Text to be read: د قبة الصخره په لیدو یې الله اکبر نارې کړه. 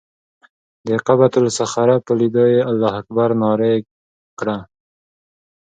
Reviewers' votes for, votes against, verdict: 3, 0, accepted